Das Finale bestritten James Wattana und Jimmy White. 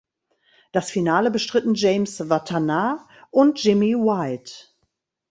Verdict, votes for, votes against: accepted, 2, 0